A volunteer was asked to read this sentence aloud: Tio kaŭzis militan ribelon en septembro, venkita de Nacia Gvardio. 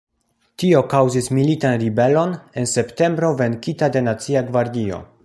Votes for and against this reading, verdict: 1, 2, rejected